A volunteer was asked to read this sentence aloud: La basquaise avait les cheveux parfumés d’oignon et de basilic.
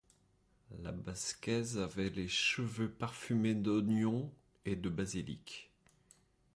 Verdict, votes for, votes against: accepted, 2, 0